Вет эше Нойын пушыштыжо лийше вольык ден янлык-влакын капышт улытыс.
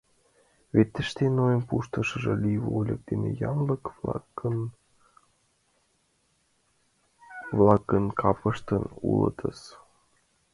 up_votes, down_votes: 0, 2